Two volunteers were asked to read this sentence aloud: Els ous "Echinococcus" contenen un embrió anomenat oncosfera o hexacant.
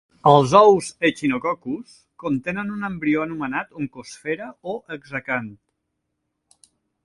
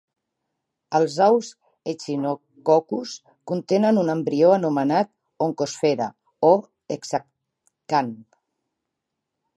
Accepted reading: first